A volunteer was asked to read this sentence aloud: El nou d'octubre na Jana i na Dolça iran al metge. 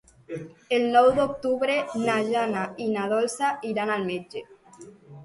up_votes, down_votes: 2, 1